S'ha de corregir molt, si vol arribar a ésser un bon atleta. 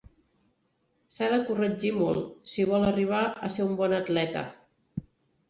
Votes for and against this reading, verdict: 1, 2, rejected